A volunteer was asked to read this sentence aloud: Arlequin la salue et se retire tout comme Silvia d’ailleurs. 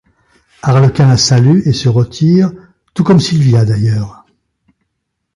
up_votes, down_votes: 2, 0